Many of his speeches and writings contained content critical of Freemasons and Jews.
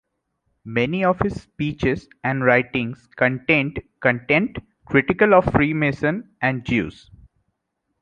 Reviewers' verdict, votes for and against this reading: accepted, 2, 0